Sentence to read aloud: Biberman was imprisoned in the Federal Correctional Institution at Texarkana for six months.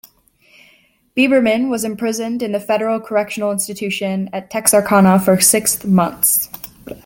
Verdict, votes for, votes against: accepted, 2, 0